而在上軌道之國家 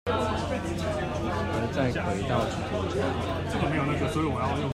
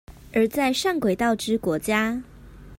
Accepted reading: second